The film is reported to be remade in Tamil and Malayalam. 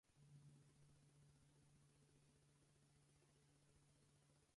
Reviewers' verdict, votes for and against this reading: rejected, 0, 4